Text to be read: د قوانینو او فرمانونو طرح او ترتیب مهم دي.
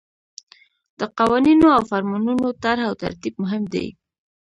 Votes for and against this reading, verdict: 2, 0, accepted